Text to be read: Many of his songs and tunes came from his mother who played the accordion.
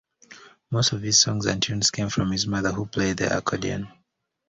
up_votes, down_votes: 2, 0